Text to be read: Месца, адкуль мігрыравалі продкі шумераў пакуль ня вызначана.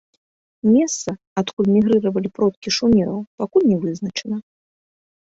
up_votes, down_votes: 3, 1